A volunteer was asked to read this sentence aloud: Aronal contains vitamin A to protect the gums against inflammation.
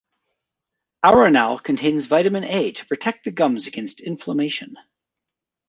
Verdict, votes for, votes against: accepted, 2, 0